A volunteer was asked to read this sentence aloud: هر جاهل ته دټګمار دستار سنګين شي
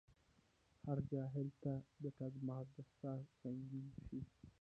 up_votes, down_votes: 1, 2